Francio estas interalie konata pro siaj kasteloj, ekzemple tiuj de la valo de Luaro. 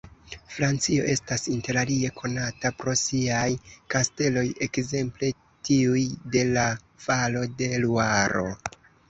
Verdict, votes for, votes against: accepted, 2, 0